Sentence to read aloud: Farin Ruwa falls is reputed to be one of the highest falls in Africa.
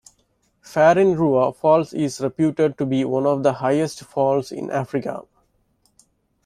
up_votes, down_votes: 2, 0